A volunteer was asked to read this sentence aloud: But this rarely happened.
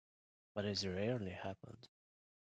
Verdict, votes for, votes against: rejected, 2, 3